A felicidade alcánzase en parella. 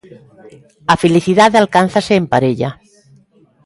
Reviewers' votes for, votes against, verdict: 2, 0, accepted